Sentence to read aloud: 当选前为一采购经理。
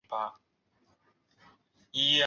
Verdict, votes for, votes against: rejected, 1, 2